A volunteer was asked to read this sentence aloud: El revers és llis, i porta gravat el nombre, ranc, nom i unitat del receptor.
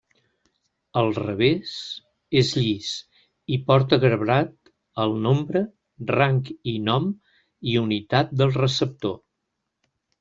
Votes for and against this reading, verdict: 0, 2, rejected